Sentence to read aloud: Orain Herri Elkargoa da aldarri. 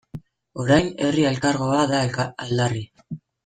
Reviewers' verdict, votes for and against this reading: rejected, 1, 2